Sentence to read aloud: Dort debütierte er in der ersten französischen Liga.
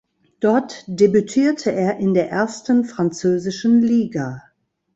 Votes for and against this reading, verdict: 0, 2, rejected